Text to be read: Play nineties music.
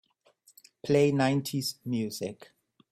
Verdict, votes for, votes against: accepted, 2, 1